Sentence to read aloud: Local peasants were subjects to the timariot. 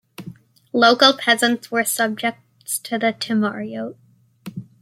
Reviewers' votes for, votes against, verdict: 2, 1, accepted